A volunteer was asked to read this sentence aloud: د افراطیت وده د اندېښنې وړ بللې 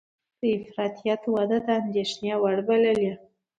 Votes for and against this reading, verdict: 2, 0, accepted